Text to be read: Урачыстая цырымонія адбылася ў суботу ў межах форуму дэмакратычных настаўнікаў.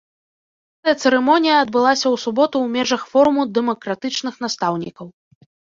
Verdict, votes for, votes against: rejected, 0, 2